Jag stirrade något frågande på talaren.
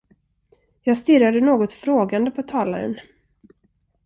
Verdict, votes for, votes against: accepted, 2, 0